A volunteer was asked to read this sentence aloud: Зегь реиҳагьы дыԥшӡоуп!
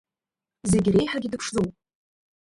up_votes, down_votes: 1, 3